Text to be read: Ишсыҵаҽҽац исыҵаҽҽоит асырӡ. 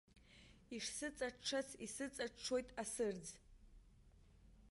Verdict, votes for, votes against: rejected, 1, 2